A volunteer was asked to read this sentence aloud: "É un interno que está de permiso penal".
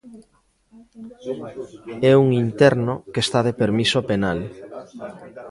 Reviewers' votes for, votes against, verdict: 1, 2, rejected